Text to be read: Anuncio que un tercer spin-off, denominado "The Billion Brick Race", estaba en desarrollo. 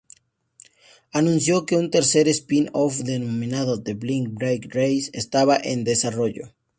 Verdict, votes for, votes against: rejected, 0, 2